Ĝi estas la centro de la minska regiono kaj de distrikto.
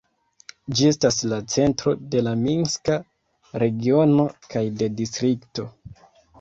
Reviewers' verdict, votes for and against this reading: accepted, 2, 1